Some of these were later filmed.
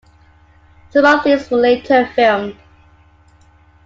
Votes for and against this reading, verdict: 2, 0, accepted